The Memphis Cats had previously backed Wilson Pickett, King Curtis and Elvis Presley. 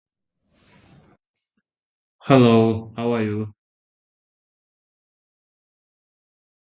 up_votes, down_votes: 0, 2